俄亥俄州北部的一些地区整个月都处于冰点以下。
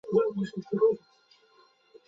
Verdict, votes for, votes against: rejected, 0, 2